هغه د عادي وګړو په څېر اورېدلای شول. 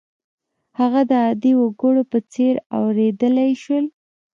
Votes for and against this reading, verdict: 1, 2, rejected